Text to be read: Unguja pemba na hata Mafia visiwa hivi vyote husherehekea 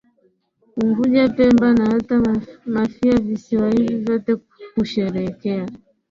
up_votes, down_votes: 16, 0